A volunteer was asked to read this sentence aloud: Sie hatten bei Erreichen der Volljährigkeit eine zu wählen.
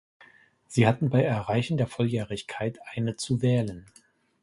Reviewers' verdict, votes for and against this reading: accepted, 2, 0